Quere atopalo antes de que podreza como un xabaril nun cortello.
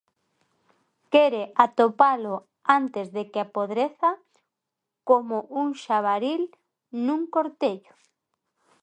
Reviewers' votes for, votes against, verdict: 0, 3, rejected